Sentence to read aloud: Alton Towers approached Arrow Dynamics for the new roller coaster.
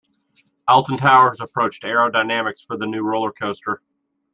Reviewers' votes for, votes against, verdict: 2, 0, accepted